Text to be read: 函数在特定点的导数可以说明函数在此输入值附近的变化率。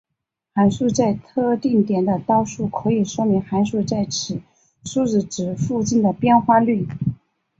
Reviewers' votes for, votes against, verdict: 2, 1, accepted